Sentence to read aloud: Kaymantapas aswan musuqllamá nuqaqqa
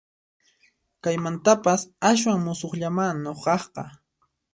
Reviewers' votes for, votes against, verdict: 2, 0, accepted